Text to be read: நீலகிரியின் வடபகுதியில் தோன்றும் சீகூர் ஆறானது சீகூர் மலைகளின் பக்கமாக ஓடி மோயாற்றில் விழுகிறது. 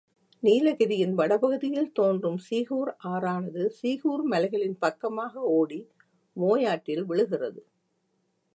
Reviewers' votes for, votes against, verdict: 1, 2, rejected